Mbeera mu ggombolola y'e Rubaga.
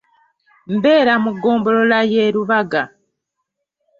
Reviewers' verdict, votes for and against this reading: accepted, 2, 1